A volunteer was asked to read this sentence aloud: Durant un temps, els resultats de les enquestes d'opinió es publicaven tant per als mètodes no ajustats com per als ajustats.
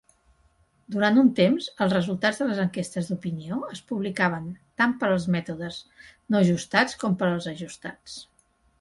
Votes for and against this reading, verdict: 3, 0, accepted